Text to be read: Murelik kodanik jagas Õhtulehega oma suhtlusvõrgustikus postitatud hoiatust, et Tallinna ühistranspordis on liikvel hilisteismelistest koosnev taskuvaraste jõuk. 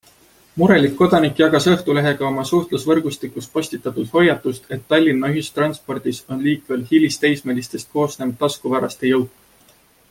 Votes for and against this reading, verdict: 2, 0, accepted